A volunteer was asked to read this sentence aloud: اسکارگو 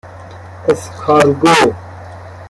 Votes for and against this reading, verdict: 3, 2, accepted